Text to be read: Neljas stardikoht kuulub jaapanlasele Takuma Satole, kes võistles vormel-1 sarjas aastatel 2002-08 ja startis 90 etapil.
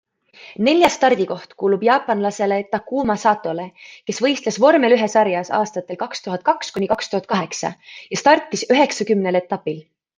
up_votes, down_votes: 0, 2